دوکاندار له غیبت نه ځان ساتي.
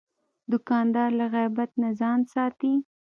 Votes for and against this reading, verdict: 2, 0, accepted